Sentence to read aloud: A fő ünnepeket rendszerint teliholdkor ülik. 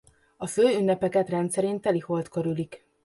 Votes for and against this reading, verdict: 2, 0, accepted